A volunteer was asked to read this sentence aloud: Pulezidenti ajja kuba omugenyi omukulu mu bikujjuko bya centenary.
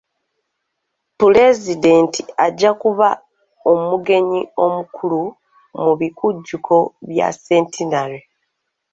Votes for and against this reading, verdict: 2, 0, accepted